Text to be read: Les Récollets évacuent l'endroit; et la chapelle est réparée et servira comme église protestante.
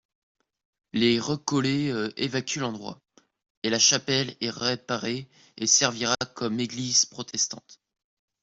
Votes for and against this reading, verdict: 1, 2, rejected